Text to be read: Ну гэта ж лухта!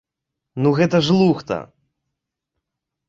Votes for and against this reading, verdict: 0, 3, rejected